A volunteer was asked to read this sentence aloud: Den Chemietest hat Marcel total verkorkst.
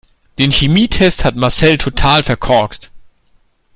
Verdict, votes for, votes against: accepted, 2, 1